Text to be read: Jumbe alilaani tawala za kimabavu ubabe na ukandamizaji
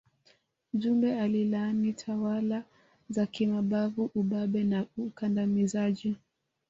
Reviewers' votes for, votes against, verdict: 1, 2, rejected